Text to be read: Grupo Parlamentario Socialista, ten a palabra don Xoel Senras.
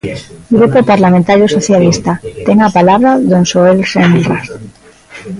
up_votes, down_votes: 0, 2